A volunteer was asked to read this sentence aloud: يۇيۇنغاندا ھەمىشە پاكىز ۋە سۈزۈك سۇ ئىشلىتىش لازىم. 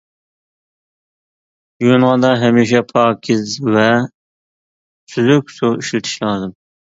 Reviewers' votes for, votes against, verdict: 2, 0, accepted